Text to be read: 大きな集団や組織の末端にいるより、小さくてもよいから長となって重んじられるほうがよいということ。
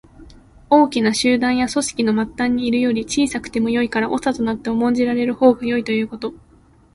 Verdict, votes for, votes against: accepted, 2, 0